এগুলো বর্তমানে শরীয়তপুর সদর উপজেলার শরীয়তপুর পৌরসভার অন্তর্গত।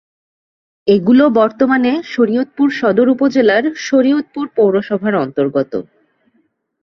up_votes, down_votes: 2, 0